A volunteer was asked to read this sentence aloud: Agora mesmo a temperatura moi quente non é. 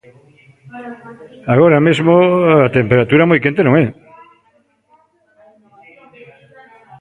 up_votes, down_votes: 0, 2